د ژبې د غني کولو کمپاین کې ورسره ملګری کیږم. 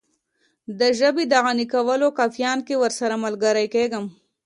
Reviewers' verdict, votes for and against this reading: accepted, 2, 0